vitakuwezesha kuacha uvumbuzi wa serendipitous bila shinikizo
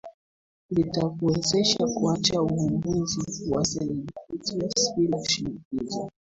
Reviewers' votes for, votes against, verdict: 0, 2, rejected